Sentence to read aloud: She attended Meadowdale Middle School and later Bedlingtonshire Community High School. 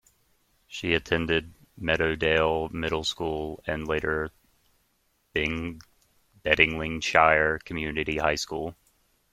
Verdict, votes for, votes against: rejected, 0, 2